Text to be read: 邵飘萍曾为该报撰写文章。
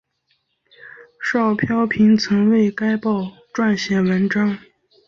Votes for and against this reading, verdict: 2, 0, accepted